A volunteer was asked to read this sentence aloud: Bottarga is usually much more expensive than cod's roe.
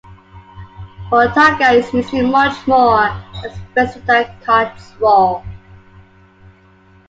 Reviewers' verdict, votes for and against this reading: accepted, 2, 0